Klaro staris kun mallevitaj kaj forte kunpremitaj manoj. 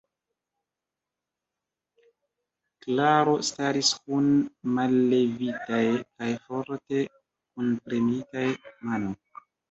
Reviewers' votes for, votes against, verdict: 0, 2, rejected